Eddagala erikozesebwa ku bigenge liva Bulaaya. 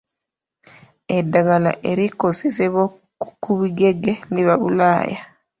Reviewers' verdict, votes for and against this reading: rejected, 0, 2